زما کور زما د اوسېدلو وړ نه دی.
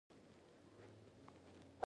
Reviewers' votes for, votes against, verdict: 0, 2, rejected